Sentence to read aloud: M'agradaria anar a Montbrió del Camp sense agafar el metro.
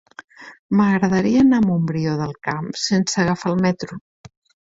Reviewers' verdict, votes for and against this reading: accepted, 3, 0